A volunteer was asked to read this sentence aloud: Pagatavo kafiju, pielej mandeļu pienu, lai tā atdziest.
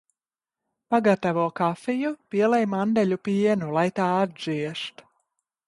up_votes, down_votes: 2, 1